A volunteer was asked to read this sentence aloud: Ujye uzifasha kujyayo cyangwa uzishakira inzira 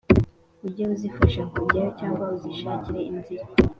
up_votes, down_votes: 0, 2